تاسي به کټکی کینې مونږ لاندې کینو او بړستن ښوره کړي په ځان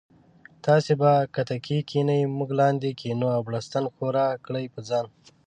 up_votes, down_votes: 1, 2